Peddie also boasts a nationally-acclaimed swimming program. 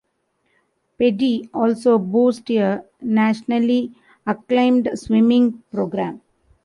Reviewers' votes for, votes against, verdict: 0, 2, rejected